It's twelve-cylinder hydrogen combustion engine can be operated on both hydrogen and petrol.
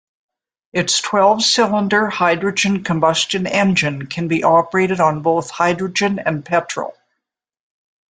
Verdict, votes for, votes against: accepted, 2, 0